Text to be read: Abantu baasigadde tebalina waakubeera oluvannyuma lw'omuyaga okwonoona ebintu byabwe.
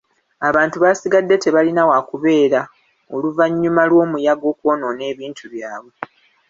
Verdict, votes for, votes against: accepted, 2, 0